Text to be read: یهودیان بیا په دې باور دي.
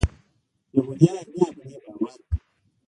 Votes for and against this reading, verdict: 2, 3, rejected